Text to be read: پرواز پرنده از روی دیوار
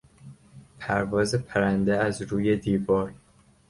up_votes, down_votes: 2, 0